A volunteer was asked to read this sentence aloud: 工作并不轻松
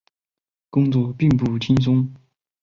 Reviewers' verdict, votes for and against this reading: accepted, 4, 0